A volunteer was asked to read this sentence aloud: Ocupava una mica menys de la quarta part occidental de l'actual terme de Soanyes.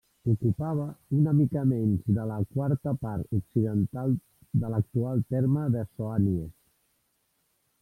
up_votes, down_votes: 0, 2